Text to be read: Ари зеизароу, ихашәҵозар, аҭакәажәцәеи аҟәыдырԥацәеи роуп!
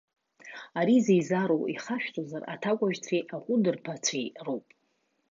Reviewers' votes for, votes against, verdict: 1, 2, rejected